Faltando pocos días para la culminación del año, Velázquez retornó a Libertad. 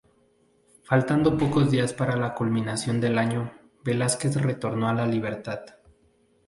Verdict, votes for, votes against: rejected, 0, 2